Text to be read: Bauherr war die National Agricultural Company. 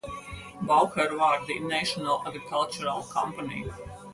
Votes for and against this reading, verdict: 4, 0, accepted